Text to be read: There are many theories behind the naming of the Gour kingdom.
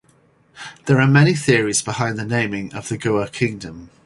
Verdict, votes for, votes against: accepted, 4, 0